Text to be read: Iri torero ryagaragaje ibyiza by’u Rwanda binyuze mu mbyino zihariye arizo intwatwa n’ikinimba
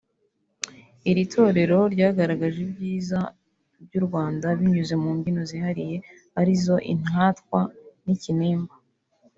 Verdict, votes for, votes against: rejected, 0, 2